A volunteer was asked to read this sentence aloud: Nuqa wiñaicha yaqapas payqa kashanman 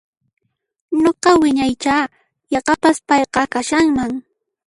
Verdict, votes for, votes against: accepted, 2, 0